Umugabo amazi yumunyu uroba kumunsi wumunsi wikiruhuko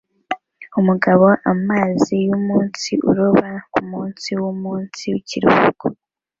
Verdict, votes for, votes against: accepted, 2, 0